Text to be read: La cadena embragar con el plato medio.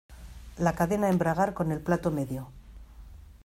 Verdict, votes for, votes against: accepted, 2, 0